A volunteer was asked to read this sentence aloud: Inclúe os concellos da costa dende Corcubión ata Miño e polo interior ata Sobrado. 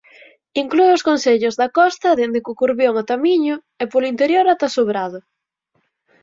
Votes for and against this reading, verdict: 0, 4, rejected